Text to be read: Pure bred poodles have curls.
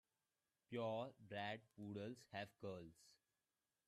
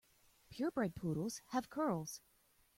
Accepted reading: second